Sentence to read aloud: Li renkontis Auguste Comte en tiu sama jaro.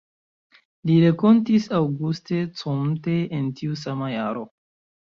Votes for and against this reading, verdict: 1, 2, rejected